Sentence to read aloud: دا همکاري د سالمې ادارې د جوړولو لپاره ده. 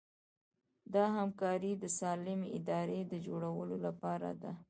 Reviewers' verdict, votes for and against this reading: accepted, 2, 0